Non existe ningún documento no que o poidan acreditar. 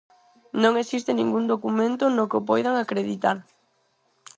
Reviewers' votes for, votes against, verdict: 4, 0, accepted